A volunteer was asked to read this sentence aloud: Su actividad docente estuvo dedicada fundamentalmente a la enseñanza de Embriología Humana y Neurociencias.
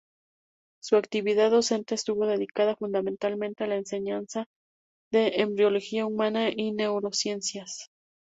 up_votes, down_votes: 0, 2